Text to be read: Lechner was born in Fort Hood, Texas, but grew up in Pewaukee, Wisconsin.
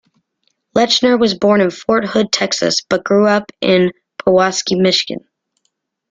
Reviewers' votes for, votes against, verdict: 2, 1, accepted